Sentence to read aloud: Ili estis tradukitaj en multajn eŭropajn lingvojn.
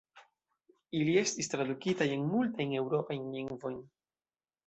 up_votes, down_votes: 3, 0